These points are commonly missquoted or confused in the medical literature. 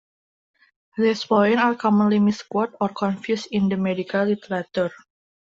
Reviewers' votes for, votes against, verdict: 1, 2, rejected